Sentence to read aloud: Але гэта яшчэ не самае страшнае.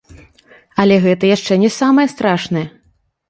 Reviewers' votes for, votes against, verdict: 1, 2, rejected